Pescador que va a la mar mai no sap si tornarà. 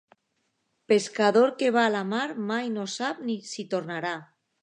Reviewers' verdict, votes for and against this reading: rejected, 0, 2